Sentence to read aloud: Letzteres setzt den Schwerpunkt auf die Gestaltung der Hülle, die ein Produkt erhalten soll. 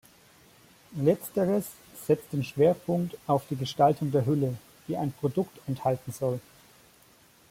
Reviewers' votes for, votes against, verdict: 1, 2, rejected